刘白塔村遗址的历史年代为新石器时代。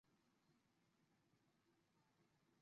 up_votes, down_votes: 0, 4